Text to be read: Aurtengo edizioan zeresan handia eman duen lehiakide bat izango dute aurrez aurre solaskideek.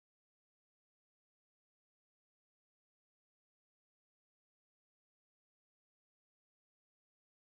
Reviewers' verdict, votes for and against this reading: rejected, 0, 2